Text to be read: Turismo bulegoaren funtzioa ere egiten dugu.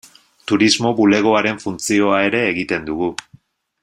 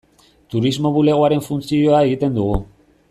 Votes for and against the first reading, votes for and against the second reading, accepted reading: 2, 0, 0, 2, first